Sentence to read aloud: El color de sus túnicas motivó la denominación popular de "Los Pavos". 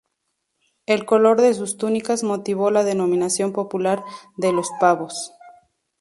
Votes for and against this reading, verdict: 2, 0, accepted